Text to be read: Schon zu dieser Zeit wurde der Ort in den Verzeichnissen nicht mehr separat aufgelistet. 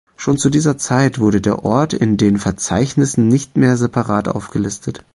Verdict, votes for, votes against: accepted, 2, 0